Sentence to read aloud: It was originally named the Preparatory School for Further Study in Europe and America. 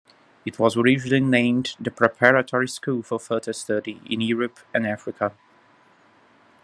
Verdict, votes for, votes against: rejected, 0, 2